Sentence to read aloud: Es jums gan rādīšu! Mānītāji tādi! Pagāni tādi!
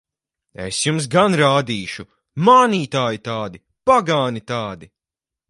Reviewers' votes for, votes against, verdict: 4, 0, accepted